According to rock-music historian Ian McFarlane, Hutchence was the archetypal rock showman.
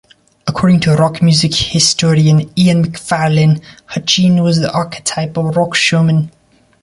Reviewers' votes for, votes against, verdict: 1, 2, rejected